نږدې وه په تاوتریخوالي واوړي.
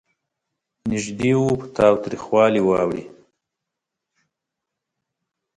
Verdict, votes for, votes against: rejected, 1, 2